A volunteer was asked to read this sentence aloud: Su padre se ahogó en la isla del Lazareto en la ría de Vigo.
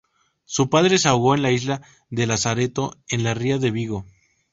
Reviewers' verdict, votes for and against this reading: rejected, 0, 2